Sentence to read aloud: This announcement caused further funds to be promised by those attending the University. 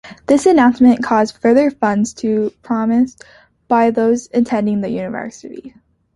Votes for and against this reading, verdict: 0, 2, rejected